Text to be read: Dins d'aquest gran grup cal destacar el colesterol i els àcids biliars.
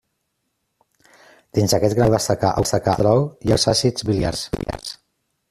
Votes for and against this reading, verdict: 0, 2, rejected